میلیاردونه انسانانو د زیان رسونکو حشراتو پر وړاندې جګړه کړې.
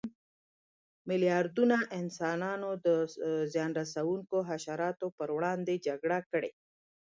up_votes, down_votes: 3, 0